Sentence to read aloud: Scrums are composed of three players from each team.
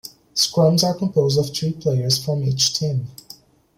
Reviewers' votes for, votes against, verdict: 3, 0, accepted